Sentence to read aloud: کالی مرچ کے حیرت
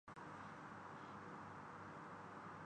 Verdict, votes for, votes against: rejected, 0, 10